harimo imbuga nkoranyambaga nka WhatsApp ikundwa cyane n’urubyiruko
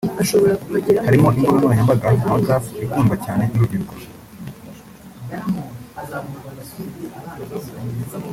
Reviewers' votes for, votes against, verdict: 1, 2, rejected